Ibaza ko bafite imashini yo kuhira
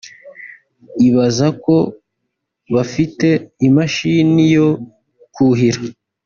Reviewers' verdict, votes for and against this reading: accepted, 2, 0